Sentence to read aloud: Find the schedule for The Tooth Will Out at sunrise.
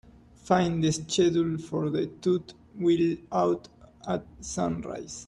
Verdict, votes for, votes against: rejected, 0, 2